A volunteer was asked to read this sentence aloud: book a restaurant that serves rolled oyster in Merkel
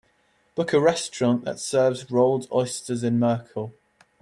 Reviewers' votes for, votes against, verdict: 0, 2, rejected